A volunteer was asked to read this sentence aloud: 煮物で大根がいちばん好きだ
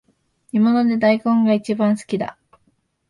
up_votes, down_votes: 2, 0